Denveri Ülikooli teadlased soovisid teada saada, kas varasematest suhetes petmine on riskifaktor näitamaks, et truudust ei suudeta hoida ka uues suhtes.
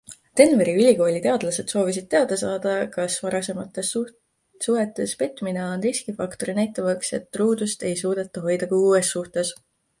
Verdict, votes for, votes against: accepted, 2, 0